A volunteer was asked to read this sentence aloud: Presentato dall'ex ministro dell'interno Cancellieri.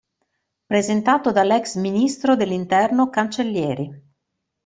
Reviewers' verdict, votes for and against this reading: accepted, 2, 0